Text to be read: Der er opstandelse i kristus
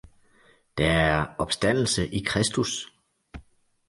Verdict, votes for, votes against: rejected, 1, 2